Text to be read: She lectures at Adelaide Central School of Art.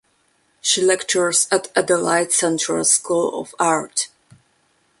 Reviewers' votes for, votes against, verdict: 2, 0, accepted